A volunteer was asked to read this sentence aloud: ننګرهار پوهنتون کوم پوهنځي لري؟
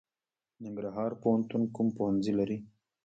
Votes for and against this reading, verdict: 0, 2, rejected